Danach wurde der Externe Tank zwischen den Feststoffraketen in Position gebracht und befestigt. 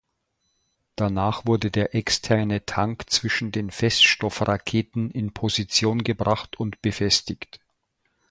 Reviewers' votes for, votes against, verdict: 2, 0, accepted